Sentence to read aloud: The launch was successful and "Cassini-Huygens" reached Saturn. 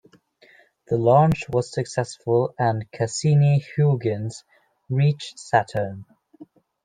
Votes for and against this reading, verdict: 2, 0, accepted